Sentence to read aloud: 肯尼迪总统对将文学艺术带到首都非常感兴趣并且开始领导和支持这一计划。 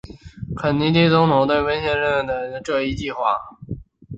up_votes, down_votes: 0, 3